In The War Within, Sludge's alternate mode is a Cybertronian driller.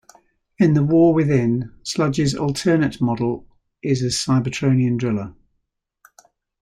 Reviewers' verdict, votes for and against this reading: rejected, 1, 2